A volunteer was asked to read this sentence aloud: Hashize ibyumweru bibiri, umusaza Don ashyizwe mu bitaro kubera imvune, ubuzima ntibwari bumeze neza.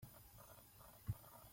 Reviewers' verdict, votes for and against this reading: rejected, 0, 2